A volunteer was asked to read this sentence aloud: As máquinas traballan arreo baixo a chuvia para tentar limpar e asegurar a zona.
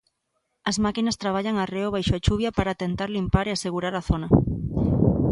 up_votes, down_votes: 2, 0